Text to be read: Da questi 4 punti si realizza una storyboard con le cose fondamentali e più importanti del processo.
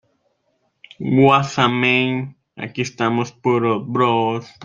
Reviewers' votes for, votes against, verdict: 0, 2, rejected